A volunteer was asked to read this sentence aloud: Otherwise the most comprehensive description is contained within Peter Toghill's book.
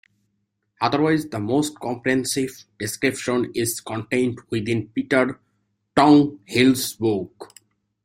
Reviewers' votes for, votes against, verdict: 0, 2, rejected